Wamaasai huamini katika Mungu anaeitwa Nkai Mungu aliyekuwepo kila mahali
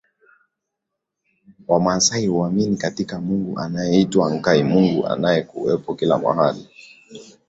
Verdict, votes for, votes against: rejected, 1, 2